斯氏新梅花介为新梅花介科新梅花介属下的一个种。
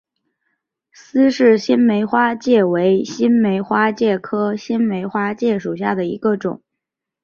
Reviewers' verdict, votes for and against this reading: accepted, 2, 0